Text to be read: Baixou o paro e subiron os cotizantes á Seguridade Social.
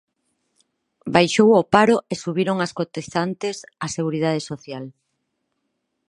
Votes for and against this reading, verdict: 0, 4, rejected